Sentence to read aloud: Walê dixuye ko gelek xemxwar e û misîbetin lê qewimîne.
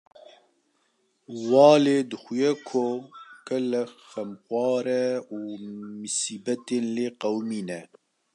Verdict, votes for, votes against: accepted, 2, 0